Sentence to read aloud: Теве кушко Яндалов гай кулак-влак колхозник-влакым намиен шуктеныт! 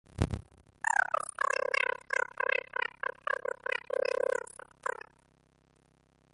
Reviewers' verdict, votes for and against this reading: rejected, 0, 2